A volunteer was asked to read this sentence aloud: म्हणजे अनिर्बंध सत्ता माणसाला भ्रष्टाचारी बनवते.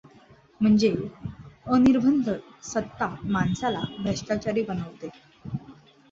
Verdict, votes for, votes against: accepted, 2, 0